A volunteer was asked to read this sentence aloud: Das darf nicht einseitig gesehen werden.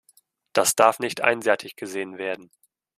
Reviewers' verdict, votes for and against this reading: rejected, 1, 2